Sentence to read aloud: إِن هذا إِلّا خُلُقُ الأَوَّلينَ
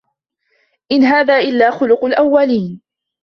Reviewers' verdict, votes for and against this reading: accepted, 2, 0